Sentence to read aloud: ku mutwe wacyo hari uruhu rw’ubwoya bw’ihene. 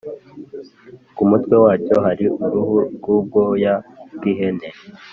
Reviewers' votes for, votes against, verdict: 3, 0, accepted